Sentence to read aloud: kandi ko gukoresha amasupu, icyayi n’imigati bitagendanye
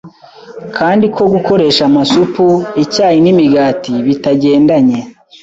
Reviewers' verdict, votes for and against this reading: accepted, 2, 0